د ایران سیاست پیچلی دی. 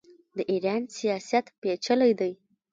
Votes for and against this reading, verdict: 0, 2, rejected